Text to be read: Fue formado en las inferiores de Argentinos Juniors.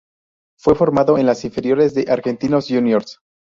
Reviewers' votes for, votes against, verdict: 2, 2, rejected